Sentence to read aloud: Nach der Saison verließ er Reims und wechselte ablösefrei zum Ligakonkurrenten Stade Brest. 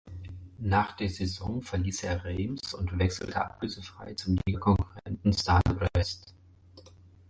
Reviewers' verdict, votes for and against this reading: rejected, 0, 4